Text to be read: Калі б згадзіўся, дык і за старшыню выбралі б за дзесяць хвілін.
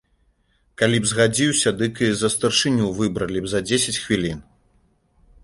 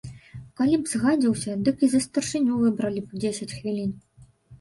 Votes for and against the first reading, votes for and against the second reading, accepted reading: 2, 0, 0, 2, first